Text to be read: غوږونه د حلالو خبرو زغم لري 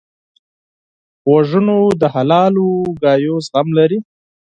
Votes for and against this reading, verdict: 2, 10, rejected